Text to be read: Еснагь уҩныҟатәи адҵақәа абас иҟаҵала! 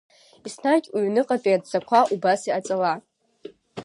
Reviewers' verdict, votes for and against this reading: rejected, 1, 2